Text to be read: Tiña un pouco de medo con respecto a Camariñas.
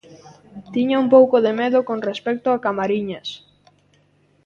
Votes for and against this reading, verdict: 2, 0, accepted